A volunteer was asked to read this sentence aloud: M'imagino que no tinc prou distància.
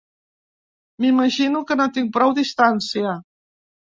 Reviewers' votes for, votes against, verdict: 3, 0, accepted